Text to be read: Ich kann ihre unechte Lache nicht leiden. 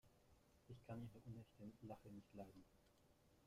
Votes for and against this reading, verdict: 0, 2, rejected